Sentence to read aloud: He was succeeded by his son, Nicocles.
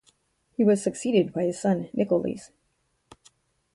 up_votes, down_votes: 0, 2